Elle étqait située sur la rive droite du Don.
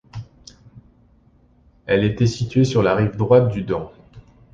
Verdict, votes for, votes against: rejected, 1, 2